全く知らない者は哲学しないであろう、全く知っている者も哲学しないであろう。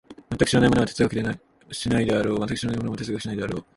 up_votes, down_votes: 1, 2